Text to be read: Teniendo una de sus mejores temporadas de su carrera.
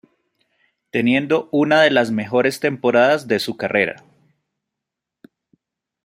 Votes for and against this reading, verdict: 1, 2, rejected